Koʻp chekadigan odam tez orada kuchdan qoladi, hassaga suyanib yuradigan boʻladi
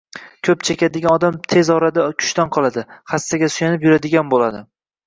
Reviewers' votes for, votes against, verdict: 1, 2, rejected